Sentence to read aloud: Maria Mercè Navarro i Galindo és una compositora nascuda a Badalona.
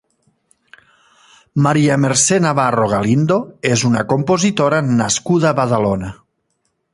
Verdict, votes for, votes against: rejected, 0, 2